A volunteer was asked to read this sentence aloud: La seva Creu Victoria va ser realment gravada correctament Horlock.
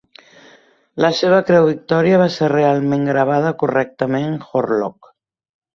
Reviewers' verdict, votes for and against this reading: accepted, 3, 0